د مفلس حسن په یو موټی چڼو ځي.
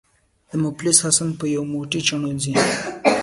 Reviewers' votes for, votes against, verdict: 1, 2, rejected